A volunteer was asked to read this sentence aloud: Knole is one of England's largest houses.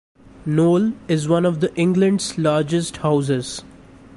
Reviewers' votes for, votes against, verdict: 1, 2, rejected